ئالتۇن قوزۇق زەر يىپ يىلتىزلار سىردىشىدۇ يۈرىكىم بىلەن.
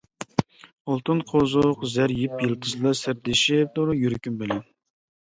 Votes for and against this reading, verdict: 0, 2, rejected